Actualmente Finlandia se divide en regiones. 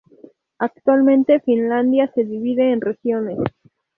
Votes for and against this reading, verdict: 4, 0, accepted